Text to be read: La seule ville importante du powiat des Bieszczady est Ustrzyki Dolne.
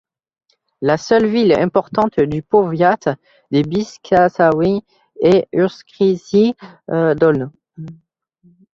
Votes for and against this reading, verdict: 0, 2, rejected